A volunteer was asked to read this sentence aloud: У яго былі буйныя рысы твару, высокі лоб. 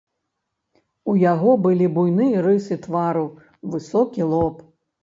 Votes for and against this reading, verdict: 1, 2, rejected